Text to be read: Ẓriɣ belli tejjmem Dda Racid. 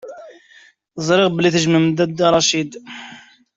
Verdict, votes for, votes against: accepted, 2, 1